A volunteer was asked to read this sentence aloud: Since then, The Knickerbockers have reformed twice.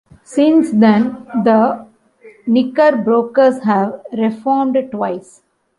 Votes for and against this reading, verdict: 1, 2, rejected